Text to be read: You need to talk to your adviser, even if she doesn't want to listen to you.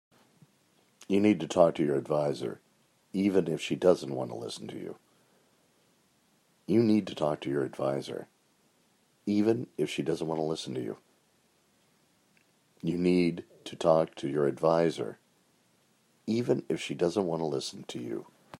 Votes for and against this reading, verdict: 2, 1, accepted